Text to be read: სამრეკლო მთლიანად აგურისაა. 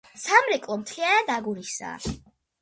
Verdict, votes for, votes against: accepted, 2, 0